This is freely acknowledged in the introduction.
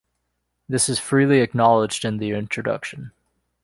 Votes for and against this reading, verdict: 2, 0, accepted